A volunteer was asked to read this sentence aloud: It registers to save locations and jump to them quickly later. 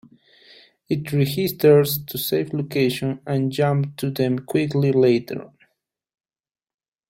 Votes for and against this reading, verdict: 0, 2, rejected